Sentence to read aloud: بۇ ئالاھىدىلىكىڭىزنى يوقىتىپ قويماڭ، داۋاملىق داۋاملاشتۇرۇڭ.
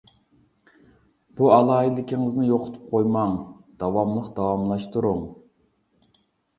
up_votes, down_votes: 2, 0